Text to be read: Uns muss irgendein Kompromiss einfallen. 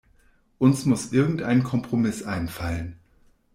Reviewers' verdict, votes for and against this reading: accepted, 2, 0